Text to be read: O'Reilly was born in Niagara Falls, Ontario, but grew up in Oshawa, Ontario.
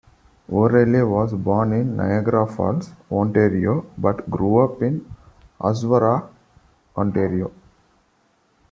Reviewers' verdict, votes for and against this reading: rejected, 1, 2